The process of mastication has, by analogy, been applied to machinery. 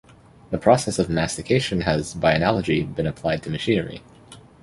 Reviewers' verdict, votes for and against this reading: accepted, 2, 0